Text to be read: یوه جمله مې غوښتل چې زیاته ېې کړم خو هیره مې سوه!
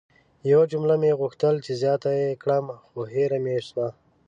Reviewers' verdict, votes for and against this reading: accepted, 2, 0